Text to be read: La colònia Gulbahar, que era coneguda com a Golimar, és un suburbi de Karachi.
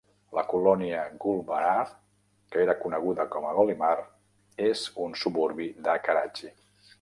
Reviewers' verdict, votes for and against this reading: accepted, 2, 0